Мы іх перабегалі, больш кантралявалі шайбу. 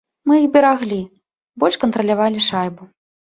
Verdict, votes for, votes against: rejected, 1, 2